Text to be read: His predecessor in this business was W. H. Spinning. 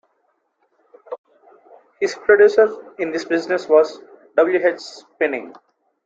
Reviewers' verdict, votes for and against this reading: rejected, 1, 2